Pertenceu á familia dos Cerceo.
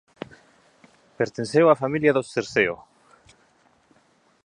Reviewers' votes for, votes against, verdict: 2, 0, accepted